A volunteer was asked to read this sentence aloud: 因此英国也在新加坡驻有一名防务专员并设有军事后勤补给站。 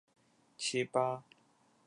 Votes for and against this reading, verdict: 0, 2, rejected